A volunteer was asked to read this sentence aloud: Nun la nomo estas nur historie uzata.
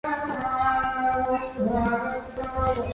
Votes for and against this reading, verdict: 0, 2, rejected